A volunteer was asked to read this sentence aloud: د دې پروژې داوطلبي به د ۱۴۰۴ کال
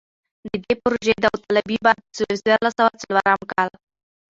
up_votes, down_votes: 0, 2